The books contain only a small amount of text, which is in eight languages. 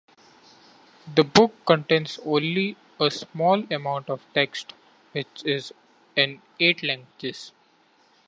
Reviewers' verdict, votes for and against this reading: rejected, 0, 2